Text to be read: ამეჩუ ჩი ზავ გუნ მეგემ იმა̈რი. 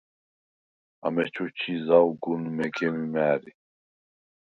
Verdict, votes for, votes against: rejected, 2, 4